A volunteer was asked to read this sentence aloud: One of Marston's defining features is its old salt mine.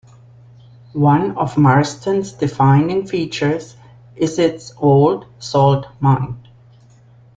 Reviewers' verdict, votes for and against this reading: accepted, 3, 1